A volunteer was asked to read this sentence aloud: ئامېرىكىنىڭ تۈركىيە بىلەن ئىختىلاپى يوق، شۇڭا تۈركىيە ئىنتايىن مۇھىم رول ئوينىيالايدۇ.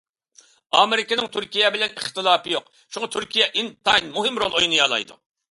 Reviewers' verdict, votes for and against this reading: accepted, 2, 0